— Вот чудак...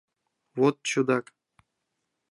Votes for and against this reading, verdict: 2, 0, accepted